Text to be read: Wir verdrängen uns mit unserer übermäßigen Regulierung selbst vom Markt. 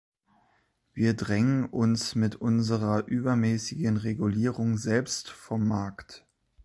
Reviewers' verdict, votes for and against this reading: rejected, 0, 2